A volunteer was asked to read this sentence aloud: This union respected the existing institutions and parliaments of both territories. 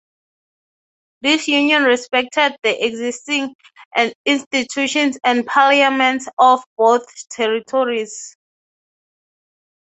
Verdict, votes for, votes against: accepted, 6, 0